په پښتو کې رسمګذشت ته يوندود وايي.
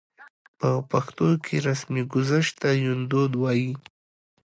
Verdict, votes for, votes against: accepted, 2, 0